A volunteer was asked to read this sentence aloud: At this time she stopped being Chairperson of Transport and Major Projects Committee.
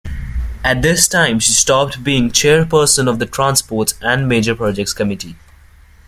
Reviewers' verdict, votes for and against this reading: rejected, 0, 2